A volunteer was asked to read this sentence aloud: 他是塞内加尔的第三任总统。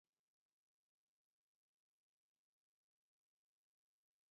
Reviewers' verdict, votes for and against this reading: rejected, 2, 3